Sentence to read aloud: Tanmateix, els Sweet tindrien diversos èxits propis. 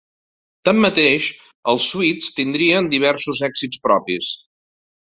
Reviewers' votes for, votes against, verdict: 1, 2, rejected